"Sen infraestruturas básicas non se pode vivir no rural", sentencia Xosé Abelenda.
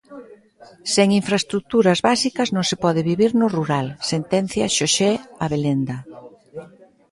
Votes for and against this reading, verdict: 2, 0, accepted